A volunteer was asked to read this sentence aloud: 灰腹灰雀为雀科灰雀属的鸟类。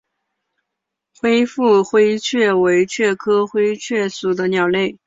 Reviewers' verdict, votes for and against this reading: rejected, 1, 2